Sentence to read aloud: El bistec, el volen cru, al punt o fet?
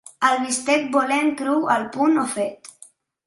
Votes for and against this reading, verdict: 0, 2, rejected